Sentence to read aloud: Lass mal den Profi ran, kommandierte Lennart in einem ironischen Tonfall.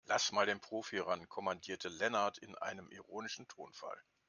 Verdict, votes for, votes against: accepted, 2, 0